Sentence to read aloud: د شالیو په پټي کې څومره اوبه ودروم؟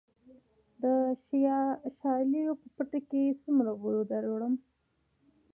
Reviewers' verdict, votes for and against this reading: rejected, 1, 2